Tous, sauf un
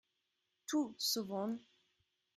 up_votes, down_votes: 0, 2